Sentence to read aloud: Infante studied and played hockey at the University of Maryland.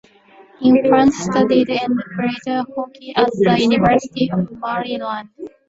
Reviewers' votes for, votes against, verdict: 0, 2, rejected